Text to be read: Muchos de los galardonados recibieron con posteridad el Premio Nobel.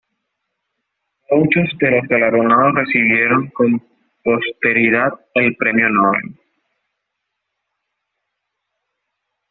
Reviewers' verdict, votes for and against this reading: rejected, 0, 2